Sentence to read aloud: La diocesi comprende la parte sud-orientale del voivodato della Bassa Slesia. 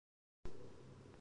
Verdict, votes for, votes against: rejected, 0, 3